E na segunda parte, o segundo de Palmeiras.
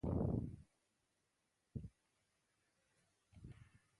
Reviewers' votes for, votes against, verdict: 0, 2, rejected